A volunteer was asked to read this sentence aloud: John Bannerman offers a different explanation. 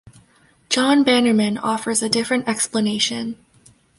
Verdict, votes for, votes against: accepted, 2, 0